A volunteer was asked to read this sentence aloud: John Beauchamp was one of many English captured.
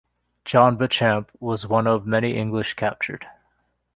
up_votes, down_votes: 2, 1